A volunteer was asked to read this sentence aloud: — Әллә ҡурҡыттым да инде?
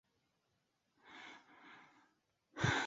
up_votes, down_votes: 0, 2